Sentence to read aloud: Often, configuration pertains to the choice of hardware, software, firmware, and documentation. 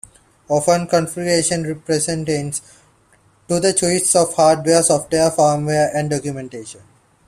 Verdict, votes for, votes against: rejected, 0, 2